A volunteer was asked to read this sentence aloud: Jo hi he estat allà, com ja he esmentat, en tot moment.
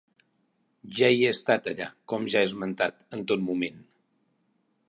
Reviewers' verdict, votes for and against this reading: accepted, 2, 0